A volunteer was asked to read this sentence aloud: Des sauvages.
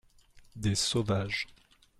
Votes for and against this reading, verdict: 2, 0, accepted